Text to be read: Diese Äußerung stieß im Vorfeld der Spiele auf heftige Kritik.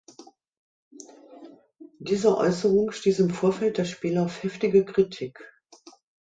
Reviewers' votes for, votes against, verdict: 3, 0, accepted